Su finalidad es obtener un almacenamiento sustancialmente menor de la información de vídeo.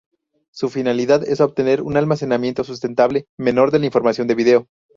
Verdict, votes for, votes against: rejected, 0, 4